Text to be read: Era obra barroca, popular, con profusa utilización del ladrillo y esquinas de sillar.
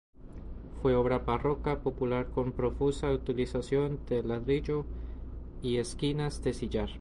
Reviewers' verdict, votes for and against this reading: rejected, 0, 2